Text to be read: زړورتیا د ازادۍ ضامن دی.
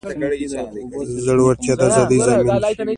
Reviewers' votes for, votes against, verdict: 1, 2, rejected